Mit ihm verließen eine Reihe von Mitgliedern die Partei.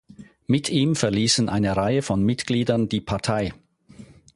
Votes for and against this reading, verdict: 4, 0, accepted